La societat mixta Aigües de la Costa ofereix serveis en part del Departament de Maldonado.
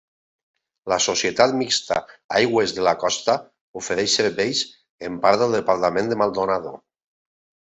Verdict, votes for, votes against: accepted, 3, 0